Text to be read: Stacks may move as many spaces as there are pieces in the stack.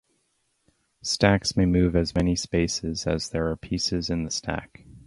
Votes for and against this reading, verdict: 2, 0, accepted